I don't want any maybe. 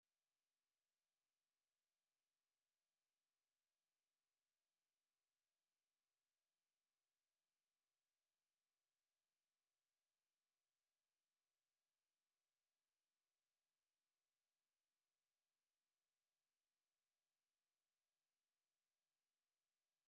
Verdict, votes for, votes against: rejected, 0, 2